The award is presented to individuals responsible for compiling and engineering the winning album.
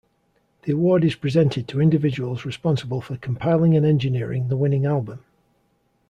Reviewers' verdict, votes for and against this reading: accepted, 2, 0